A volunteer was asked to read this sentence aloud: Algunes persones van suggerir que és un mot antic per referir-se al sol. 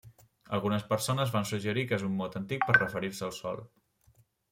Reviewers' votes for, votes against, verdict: 3, 0, accepted